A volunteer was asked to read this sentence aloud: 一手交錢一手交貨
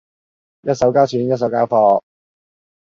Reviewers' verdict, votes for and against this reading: accepted, 2, 0